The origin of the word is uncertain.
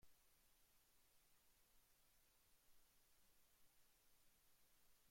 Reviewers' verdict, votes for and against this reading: rejected, 0, 2